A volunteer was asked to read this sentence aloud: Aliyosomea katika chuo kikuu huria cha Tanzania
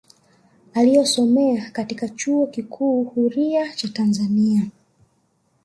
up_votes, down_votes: 1, 2